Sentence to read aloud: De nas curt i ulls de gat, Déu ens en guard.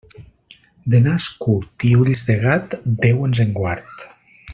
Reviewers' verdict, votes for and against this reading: accepted, 2, 0